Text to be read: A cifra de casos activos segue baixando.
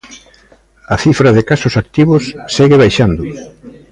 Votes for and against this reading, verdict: 0, 2, rejected